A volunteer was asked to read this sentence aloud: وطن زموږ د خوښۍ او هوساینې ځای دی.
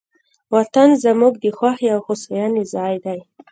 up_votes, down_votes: 1, 2